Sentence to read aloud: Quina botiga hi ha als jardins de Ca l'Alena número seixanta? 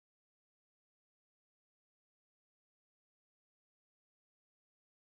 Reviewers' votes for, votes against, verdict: 0, 2, rejected